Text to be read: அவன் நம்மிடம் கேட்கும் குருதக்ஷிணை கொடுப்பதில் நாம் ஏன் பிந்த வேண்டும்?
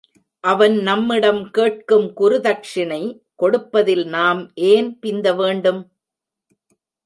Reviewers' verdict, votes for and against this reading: accepted, 2, 0